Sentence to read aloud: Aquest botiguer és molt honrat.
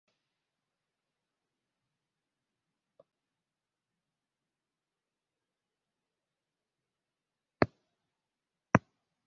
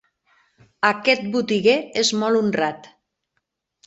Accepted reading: second